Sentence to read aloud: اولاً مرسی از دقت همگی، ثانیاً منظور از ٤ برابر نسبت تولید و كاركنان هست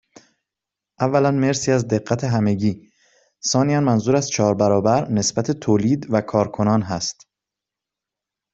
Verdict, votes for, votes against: rejected, 0, 2